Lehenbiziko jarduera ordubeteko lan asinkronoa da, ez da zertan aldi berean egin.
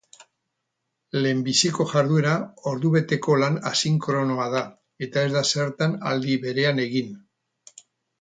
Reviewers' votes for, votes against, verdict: 2, 0, accepted